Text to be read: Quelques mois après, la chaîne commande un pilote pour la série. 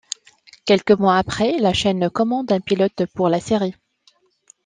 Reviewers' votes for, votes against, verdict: 2, 0, accepted